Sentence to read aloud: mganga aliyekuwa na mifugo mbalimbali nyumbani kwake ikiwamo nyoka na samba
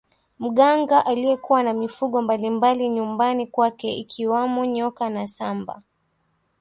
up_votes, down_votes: 2, 0